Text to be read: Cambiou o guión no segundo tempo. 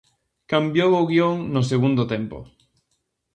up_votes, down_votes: 2, 0